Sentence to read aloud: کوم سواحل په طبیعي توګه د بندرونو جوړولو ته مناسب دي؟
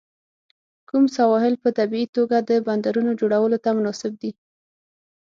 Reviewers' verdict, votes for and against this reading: accepted, 6, 0